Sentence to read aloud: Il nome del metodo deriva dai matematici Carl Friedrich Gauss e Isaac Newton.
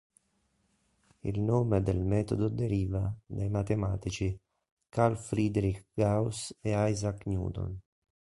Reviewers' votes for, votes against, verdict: 3, 0, accepted